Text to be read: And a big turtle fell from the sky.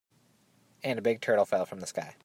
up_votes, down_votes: 2, 0